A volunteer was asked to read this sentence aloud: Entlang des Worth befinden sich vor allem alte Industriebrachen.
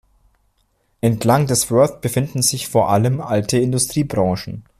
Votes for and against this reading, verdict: 2, 0, accepted